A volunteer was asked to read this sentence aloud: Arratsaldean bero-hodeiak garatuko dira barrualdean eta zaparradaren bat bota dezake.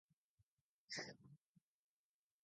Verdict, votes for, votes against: rejected, 0, 2